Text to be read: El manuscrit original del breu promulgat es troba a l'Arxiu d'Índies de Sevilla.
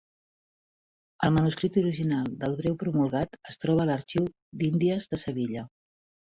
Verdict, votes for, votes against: accepted, 2, 0